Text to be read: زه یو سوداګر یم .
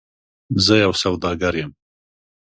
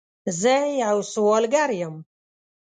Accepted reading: first